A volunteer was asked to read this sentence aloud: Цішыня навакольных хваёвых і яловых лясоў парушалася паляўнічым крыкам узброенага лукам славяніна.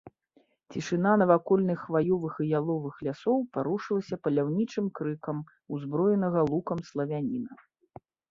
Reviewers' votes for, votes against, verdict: 0, 2, rejected